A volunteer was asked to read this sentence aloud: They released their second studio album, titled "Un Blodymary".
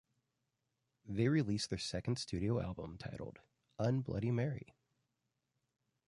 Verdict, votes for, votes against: rejected, 0, 2